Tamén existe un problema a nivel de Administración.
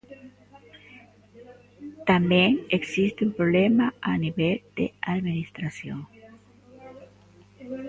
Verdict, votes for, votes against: rejected, 1, 2